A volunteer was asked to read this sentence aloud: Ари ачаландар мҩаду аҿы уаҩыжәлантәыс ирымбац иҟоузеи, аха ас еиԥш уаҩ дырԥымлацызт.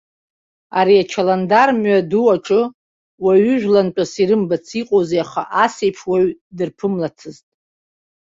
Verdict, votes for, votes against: rejected, 1, 2